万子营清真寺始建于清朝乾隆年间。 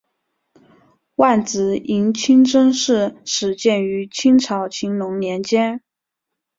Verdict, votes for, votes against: accepted, 3, 0